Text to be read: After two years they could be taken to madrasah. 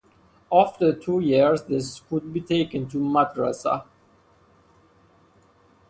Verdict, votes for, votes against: accepted, 2, 0